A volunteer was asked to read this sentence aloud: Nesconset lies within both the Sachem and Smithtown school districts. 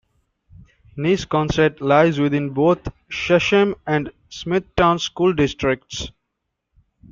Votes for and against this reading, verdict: 0, 2, rejected